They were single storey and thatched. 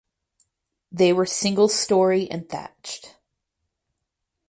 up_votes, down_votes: 4, 0